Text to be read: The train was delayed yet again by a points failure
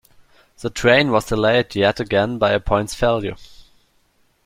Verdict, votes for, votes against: accepted, 2, 0